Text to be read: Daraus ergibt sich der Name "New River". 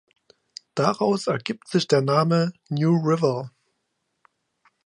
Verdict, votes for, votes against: accepted, 2, 0